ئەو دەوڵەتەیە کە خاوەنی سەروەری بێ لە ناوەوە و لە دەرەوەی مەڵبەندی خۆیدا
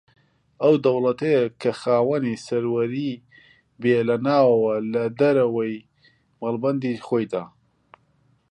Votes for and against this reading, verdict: 2, 3, rejected